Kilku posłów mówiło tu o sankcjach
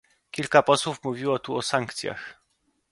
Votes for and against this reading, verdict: 0, 2, rejected